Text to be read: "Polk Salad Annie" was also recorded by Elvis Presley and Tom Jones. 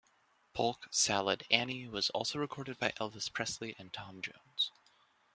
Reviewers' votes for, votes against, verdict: 3, 0, accepted